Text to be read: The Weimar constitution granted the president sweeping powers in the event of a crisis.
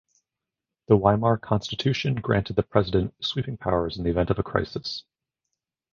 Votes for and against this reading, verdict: 0, 2, rejected